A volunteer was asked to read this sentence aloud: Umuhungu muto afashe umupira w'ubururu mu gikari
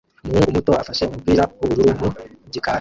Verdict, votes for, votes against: rejected, 0, 2